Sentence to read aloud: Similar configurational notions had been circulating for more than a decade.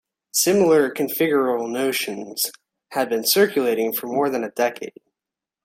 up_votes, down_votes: 0, 2